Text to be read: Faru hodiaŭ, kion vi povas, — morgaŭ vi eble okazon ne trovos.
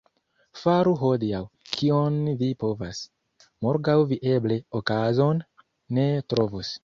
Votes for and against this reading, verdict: 1, 2, rejected